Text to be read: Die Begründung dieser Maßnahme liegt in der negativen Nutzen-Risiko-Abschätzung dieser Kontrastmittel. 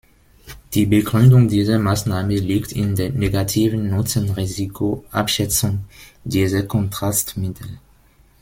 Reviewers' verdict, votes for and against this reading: rejected, 0, 2